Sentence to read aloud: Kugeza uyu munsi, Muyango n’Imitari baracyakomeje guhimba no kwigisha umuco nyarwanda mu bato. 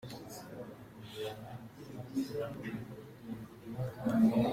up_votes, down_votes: 0, 2